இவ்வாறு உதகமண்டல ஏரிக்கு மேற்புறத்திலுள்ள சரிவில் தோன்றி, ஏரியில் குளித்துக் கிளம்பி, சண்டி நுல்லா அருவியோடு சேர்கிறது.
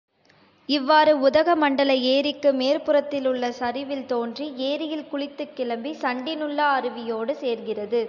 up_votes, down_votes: 2, 0